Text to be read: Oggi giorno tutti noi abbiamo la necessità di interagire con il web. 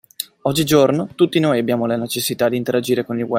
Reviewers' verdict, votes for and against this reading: rejected, 0, 2